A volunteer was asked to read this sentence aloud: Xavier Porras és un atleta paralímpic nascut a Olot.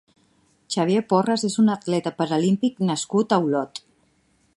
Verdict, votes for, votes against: accepted, 3, 0